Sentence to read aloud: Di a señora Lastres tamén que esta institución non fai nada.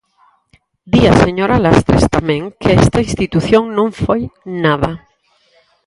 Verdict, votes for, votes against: rejected, 0, 4